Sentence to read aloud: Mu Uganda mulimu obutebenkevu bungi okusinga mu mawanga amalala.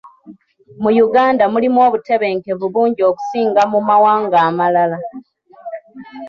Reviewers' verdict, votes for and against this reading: accepted, 2, 1